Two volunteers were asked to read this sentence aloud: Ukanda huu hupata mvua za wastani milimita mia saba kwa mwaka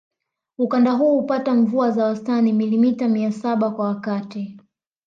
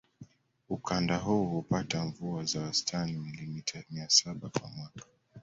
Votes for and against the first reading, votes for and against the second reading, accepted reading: 1, 2, 2, 0, second